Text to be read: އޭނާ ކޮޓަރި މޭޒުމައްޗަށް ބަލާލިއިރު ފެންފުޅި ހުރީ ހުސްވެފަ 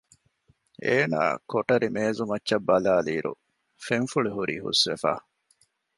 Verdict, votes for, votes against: accepted, 2, 0